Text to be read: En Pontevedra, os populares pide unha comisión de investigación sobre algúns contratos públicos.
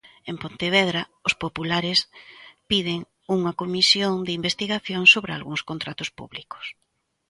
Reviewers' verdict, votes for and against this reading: rejected, 1, 2